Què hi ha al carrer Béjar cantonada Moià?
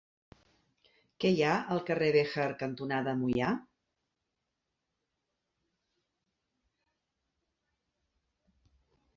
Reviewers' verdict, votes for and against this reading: accepted, 2, 0